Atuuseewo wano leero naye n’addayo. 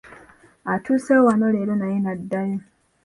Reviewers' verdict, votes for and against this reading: accepted, 2, 0